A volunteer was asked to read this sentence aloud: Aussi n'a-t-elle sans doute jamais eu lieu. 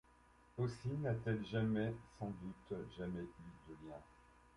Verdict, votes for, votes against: rejected, 0, 2